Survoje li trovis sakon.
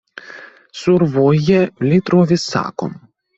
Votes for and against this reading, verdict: 2, 0, accepted